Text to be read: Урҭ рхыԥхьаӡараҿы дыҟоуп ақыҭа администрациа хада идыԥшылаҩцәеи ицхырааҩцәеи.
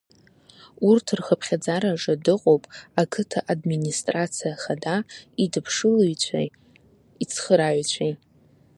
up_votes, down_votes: 2, 0